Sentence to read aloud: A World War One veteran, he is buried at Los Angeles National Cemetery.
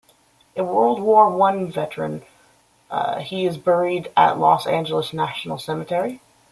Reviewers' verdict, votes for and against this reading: rejected, 1, 2